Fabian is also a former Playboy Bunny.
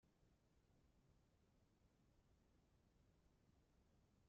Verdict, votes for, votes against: rejected, 0, 2